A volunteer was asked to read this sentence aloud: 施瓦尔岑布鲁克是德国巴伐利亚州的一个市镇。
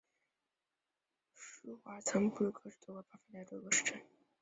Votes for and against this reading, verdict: 1, 3, rejected